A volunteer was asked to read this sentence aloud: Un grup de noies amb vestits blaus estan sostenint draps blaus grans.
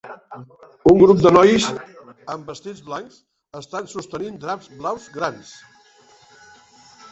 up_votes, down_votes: 0, 2